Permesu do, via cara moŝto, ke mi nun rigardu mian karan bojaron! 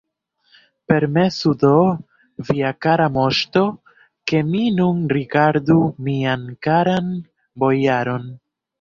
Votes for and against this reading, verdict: 1, 2, rejected